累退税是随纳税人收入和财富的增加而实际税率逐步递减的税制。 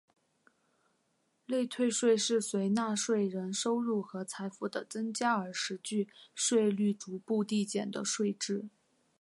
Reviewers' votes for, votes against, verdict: 2, 0, accepted